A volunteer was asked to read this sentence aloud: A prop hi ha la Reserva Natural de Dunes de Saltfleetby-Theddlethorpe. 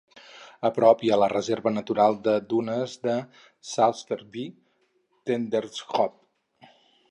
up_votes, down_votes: 2, 2